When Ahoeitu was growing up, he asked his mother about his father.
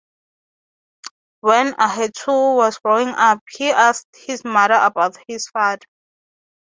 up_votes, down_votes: 0, 6